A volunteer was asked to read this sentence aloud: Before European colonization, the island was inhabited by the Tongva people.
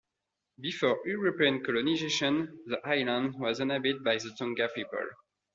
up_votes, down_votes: 0, 2